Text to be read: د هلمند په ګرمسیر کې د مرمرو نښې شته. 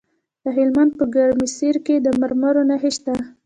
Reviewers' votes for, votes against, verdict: 2, 0, accepted